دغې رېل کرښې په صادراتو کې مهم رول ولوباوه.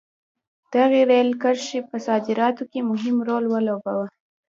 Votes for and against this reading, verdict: 2, 0, accepted